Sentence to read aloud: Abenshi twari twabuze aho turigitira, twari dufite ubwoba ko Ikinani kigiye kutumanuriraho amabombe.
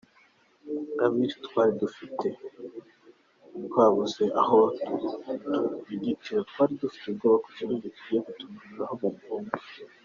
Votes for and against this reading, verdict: 0, 2, rejected